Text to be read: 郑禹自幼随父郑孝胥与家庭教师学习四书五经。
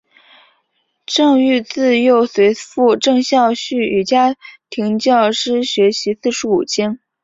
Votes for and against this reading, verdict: 2, 0, accepted